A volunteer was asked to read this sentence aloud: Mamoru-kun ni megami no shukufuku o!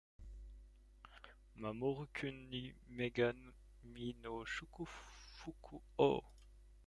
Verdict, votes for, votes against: rejected, 1, 2